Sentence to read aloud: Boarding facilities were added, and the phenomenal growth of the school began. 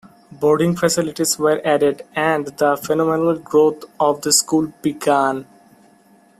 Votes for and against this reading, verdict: 2, 0, accepted